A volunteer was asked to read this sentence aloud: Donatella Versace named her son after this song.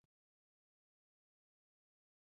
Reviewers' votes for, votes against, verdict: 0, 2, rejected